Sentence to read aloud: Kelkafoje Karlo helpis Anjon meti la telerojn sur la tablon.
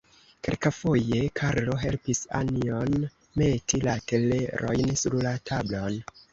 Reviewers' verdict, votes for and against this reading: accepted, 2, 0